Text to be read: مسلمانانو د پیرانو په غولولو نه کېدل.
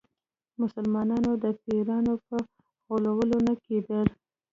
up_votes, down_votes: 1, 2